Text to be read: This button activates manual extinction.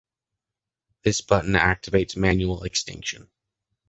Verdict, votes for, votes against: accepted, 2, 0